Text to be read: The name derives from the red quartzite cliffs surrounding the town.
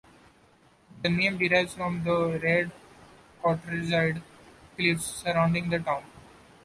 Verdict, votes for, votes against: rejected, 1, 2